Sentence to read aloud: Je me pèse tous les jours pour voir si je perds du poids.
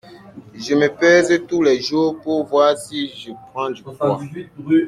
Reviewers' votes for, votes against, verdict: 0, 2, rejected